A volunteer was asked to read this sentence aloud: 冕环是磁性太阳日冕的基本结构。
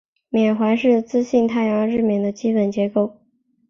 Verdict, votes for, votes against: accepted, 3, 2